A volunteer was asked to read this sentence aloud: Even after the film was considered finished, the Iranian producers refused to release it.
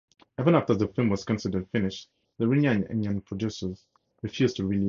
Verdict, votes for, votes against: accepted, 4, 0